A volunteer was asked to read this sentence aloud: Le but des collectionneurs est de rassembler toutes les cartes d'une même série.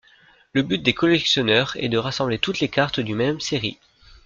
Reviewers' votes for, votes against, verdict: 1, 2, rejected